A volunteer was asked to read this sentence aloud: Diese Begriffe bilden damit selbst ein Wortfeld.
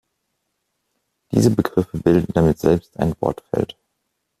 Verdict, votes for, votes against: accepted, 2, 0